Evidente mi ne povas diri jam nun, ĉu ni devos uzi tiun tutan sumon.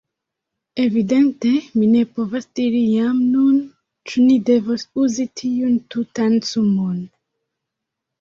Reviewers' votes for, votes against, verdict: 0, 2, rejected